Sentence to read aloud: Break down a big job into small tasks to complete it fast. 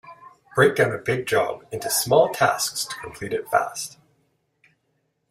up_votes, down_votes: 2, 0